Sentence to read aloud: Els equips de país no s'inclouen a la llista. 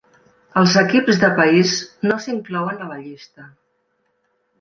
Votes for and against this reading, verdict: 3, 0, accepted